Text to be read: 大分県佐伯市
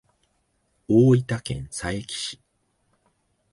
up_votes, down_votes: 2, 0